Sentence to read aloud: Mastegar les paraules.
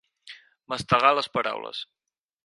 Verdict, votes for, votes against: accepted, 4, 0